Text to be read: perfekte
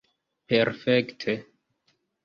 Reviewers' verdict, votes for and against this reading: accepted, 2, 0